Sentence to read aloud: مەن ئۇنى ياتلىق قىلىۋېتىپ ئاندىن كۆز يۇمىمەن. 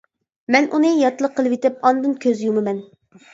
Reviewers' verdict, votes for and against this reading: accepted, 2, 0